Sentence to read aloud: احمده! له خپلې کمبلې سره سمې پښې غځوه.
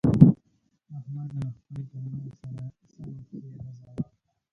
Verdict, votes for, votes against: rejected, 0, 2